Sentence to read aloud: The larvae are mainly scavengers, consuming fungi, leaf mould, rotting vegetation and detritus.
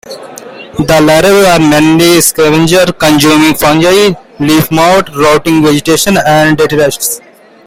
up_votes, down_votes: 1, 2